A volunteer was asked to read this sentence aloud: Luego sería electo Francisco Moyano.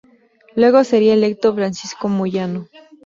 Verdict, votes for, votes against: accepted, 2, 0